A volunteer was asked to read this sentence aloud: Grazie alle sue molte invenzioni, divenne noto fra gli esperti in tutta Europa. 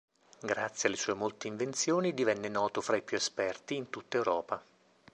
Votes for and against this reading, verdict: 0, 2, rejected